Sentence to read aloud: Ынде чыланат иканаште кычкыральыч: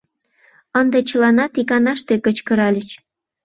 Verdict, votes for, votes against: accepted, 2, 0